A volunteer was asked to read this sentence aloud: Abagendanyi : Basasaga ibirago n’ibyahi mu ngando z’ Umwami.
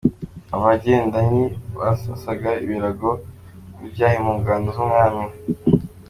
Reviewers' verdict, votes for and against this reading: accepted, 2, 0